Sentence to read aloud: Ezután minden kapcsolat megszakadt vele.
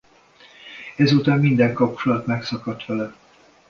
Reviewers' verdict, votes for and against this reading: accepted, 2, 0